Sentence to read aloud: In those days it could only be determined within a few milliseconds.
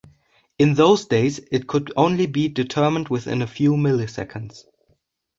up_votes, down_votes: 2, 0